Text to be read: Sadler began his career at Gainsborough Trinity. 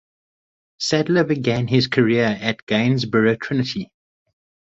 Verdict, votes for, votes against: accepted, 4, 0